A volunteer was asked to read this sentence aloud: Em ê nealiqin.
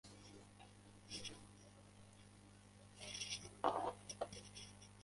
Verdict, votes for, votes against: rejected, 0, 2